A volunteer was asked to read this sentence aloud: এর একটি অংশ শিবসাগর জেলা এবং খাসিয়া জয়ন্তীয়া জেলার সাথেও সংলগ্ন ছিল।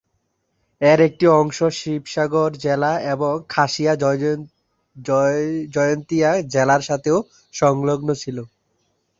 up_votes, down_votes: 0, 2